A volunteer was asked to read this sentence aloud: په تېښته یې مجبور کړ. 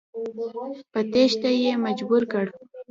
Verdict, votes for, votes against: rejected, 0, 2